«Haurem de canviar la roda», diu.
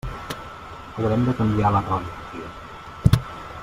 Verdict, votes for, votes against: rejected, 1, 2